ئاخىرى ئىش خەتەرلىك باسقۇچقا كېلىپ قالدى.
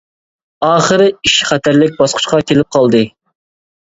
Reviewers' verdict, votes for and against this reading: accepted, 2, 0